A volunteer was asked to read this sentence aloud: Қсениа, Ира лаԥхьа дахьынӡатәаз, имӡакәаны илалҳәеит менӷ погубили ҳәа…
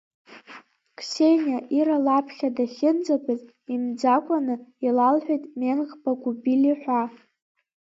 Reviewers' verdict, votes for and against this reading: rejected, 1, 2